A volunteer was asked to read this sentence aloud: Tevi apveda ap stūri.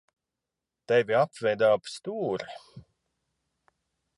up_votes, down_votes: 4, 0